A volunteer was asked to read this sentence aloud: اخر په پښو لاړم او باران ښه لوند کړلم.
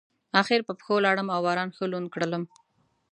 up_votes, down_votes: 2, 0